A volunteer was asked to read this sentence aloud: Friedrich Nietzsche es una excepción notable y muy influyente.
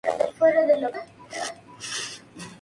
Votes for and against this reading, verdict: 2, 0, accepted